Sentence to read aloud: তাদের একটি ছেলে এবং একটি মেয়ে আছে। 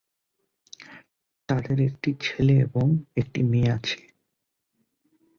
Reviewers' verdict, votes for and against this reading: accepted, 2, 0